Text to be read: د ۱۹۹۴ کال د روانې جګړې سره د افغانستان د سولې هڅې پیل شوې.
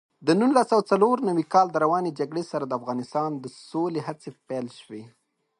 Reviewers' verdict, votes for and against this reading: rejected, 0, 2